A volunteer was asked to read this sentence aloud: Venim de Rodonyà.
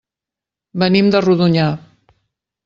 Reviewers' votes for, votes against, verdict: 3, 0, accepted